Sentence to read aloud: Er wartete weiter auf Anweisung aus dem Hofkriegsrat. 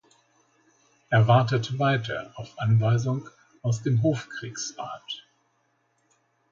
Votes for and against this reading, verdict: 2, 1, accepted